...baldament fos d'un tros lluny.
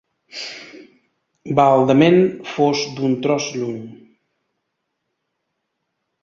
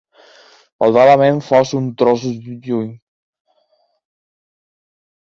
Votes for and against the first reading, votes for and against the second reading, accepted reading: 4, 0, 1, 2, first